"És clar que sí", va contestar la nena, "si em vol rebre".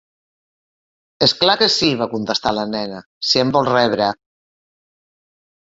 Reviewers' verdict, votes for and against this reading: accepted, 2, 0